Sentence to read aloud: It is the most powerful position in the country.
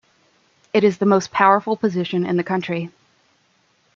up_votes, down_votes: 2, 0